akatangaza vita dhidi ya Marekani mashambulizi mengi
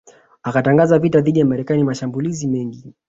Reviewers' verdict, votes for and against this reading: accepted, 2, 0